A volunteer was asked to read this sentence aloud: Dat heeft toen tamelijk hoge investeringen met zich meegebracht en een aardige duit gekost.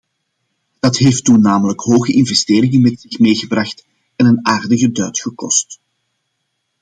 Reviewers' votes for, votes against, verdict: 2, 0, accepted